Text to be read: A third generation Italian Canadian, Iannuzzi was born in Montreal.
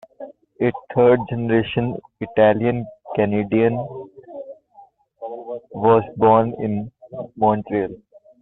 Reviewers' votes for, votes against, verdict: 0, 2, rejected